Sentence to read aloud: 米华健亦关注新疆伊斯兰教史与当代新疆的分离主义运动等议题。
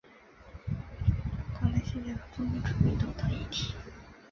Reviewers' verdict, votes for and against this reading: rejected, 0, 3